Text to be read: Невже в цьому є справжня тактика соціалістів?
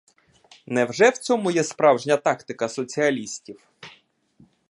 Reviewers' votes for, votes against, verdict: 2, 0, accepted